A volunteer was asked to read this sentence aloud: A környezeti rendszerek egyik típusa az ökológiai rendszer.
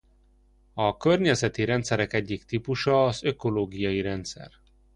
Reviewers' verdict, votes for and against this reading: accepted, 2, 1